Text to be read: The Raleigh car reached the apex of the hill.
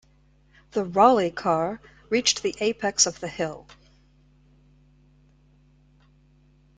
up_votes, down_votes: 2, 1